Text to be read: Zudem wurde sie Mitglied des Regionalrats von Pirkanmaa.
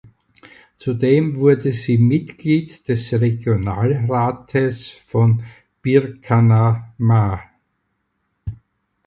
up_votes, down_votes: 0, 4